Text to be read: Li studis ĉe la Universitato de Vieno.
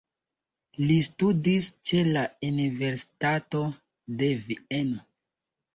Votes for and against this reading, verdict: 2, 1, accepted